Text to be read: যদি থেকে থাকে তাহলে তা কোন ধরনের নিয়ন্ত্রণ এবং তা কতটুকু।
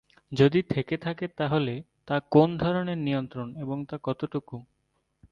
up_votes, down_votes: 2, 0